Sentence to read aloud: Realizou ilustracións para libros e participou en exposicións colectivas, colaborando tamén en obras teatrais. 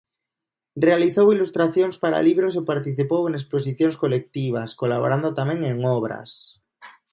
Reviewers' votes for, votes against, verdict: 0, 2, rejected